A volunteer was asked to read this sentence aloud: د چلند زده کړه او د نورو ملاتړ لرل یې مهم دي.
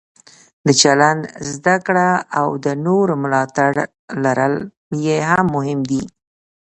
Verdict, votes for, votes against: accepted, 2, 1